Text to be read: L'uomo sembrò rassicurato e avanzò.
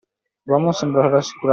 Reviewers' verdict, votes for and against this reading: rejected, 0, 2